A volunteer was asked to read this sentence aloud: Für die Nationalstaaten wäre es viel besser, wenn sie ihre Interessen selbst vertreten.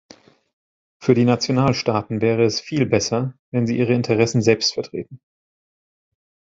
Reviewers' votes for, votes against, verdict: 2, 0, accepted